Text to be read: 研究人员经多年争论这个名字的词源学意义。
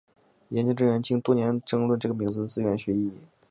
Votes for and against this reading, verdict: 2, 2, rejected